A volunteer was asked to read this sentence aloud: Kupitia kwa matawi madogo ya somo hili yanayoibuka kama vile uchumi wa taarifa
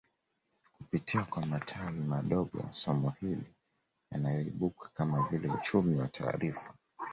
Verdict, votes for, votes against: rejected, 1, 2